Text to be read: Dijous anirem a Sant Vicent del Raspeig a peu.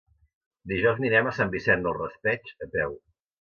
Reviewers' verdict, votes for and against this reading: rejected, 1, 2